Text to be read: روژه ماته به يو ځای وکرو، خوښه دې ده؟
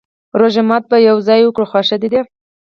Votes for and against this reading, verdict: 4, 0, accepted